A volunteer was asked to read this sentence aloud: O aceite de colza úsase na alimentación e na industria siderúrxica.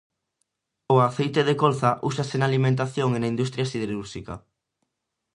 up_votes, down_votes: 2, 0